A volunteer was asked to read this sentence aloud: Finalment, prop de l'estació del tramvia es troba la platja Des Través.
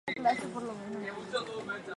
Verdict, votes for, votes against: rejected, 2, 4